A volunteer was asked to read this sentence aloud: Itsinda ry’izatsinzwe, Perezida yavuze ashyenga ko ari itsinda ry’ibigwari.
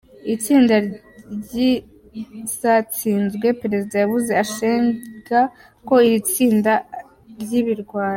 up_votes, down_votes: 1, 2